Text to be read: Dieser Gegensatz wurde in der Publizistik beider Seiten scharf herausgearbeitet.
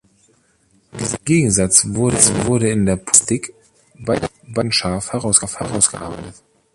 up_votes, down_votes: 0, 2